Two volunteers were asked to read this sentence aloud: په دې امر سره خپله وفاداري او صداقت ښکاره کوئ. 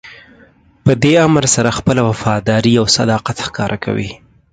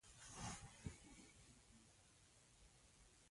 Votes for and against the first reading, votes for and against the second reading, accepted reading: 4, 0, 0, 2, first